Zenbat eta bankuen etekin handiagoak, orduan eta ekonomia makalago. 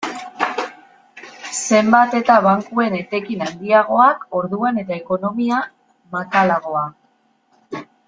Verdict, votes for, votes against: rejected, 0, 2